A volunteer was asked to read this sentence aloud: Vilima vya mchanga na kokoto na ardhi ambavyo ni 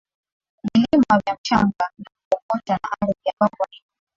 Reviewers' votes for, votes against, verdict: 3, 1, accepted